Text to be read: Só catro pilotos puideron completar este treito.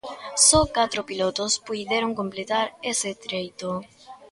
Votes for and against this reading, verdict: 0, 2, rejected